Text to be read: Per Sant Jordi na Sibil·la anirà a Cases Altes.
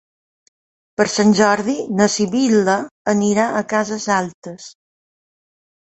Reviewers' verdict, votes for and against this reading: accepted, 3, 0